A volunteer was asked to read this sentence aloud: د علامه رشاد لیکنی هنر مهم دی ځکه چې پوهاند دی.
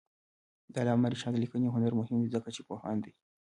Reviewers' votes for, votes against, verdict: 2, 1, accepted